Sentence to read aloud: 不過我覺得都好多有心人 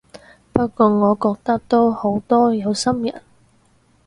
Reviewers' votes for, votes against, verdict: 4, 0, accepted